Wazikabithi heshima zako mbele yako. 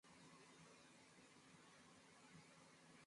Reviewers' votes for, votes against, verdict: 0, 2, rejected